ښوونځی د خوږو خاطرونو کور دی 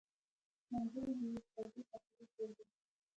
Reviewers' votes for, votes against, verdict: 0, 2, rejected